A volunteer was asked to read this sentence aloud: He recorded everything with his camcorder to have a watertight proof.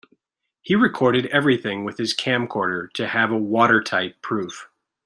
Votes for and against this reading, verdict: 2, 0, accepted